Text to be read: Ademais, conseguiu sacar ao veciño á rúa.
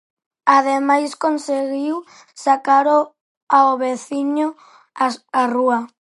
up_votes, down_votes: 0, 4